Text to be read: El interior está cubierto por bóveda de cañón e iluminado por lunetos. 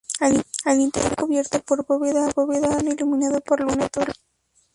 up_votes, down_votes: 0, 2